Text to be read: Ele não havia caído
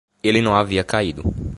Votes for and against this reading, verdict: 2, 0, accepted